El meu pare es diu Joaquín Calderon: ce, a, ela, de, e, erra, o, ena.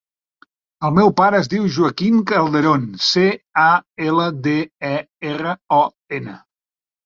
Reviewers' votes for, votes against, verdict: 0, 2, rejected